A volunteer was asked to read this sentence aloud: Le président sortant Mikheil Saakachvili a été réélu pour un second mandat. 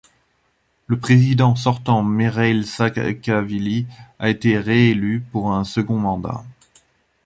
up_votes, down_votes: 0, 2